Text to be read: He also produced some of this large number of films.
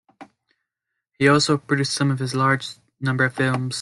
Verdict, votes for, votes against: rejected, 1, 2